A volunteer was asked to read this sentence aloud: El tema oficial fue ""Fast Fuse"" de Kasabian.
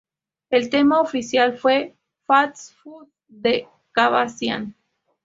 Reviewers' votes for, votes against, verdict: 0, 2, rejected